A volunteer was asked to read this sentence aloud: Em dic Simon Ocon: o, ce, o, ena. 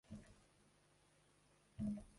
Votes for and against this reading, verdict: 0, 2, rejected